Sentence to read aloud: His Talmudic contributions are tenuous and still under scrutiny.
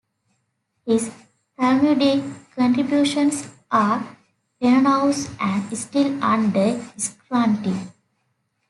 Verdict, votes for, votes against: rejected, 0, 2